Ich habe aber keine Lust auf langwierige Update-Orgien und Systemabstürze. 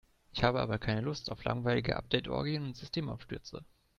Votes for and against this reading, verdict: 1, 2, rejected